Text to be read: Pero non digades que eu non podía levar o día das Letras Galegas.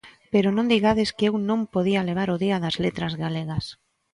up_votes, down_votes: 2, 0